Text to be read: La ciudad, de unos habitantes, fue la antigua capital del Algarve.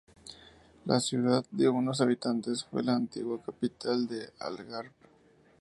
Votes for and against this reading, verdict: 2, 0, accepted